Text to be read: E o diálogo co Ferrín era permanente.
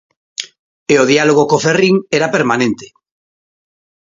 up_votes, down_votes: 2, 0